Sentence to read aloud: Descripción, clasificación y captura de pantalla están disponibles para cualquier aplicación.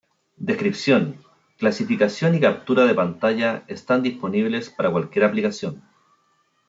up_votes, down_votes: 0, 2